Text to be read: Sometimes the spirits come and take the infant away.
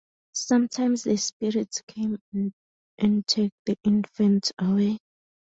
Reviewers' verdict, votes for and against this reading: rejected, 2, 2